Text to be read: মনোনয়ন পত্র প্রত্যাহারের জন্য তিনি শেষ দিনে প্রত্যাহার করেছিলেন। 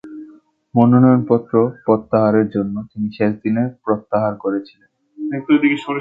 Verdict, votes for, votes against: rejected, 2, 3